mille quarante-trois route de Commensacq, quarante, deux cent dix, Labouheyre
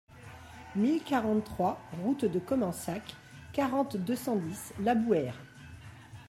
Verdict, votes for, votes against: accepted, 2, 0